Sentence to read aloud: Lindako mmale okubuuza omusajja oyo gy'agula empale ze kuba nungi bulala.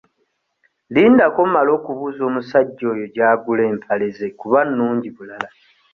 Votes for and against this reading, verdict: 2, 0, accepted